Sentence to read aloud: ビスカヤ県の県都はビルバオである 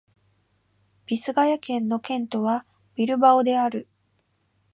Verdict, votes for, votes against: rejected, 0, 2